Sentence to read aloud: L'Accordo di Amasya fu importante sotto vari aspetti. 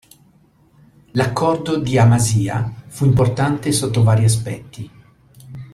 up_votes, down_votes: 2, 0